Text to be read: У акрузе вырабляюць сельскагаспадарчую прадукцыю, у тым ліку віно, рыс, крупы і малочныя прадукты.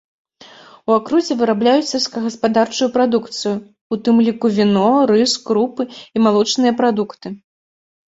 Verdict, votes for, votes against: accepted, 2, 0